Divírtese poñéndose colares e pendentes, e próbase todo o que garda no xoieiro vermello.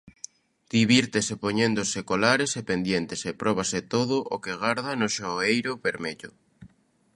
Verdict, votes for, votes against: rejected, 0, 2